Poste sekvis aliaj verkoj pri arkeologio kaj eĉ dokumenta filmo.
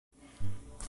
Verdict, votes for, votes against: rejected, 1, 2